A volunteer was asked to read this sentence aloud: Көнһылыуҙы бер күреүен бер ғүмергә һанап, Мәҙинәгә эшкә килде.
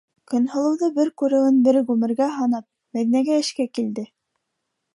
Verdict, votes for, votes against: accepted, 2, 0